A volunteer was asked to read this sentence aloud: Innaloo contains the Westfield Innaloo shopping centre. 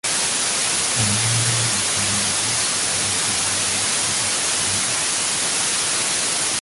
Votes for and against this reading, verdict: 0, 2, rejected